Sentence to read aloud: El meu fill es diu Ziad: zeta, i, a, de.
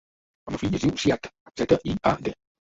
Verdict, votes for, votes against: rejected, 1, 2